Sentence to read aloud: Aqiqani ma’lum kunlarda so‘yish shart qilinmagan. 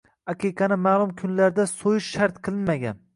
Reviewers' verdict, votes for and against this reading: rejected, 1, 2